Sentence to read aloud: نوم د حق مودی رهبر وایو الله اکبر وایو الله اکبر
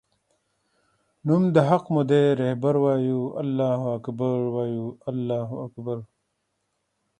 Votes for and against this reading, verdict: 2, 0, accepted